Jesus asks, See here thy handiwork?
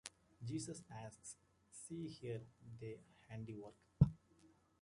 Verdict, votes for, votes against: rejected, 0, 2